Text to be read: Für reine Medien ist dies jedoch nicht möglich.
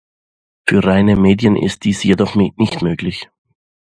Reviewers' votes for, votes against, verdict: 0, 2, rejected